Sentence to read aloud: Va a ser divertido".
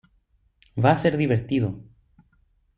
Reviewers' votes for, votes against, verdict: 2, 0, accepted